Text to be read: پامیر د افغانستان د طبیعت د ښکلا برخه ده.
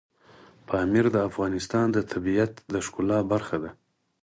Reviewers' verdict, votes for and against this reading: accepted, 4, 0